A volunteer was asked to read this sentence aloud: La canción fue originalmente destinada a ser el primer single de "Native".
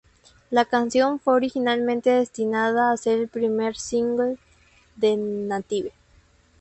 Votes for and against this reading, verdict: 2, 0, accepted